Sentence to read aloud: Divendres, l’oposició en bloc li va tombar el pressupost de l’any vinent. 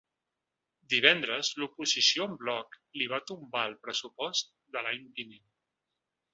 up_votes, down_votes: 2, 0